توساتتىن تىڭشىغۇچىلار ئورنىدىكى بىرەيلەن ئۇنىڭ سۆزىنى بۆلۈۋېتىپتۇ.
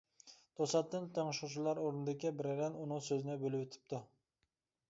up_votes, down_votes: 2, 0